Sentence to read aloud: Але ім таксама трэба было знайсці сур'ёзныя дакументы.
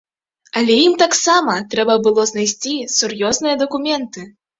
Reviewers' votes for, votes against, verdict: 4, 0, accepted